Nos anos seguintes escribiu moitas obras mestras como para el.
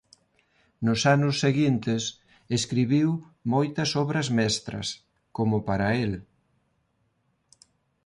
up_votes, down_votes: 2, 0